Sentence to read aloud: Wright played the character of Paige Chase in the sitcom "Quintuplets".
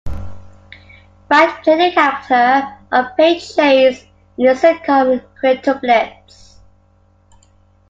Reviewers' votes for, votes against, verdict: 2, 1, accepted